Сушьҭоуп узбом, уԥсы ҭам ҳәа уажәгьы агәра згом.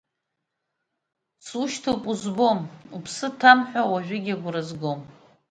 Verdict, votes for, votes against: rejected, 1, 2